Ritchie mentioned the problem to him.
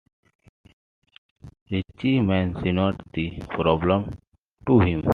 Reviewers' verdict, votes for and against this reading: accepted, 2, 0